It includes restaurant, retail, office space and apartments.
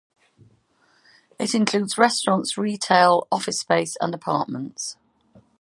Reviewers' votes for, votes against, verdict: 2, 0, accepted